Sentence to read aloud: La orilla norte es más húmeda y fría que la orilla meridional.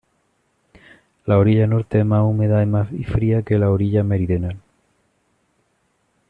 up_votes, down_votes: 1, 2